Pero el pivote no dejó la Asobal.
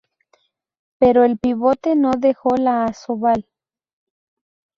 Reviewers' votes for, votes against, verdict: 2, 2, rejected